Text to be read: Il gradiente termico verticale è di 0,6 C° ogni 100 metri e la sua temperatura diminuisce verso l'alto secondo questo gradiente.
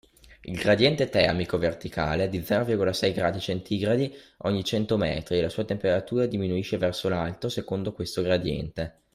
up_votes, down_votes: 0, 2